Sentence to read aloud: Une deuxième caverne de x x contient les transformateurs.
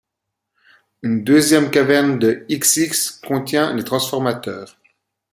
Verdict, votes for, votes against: accepted, 2, 0